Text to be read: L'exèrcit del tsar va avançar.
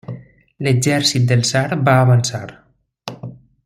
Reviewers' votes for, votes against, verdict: 2, 0, accepted